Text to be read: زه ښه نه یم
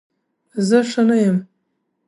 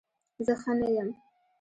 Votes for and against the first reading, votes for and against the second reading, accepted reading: 3, 0, 1, 2, first